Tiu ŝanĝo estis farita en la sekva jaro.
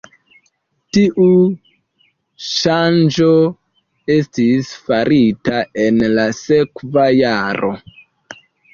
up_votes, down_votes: 2, 1